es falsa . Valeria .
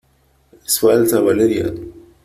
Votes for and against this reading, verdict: 2, 1, accepted